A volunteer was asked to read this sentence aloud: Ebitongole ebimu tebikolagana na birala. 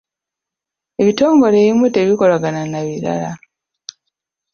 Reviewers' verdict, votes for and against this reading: accepted, 2, 0